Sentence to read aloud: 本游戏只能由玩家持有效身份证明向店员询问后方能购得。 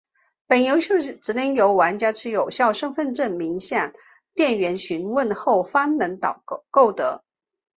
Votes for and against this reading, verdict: 1, 5, rejected